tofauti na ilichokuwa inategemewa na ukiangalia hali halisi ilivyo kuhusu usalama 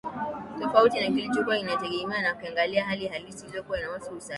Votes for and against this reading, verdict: 1, 2, rejected